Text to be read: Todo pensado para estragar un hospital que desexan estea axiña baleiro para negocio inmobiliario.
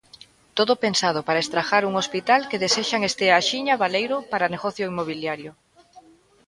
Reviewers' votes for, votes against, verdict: 2, 0, accepted